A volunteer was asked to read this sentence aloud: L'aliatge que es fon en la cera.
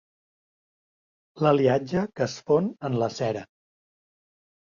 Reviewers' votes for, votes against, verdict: 2, 0, accepted